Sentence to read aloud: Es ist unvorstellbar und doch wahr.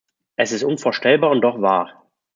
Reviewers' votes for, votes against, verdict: 2, 0, accepted